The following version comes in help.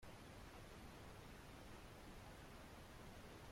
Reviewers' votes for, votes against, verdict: 0, 2, rejected